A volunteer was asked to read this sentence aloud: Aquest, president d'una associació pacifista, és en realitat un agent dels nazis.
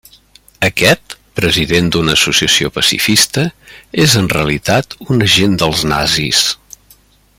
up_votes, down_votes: 3, 0